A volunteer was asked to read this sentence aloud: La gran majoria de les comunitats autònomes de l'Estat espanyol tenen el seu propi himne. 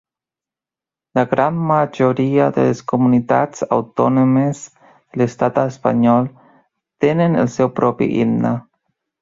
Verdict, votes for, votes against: rejected, 2, 3